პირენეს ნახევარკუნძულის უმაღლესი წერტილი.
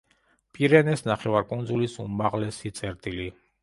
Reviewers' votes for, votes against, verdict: 2, 0, accepted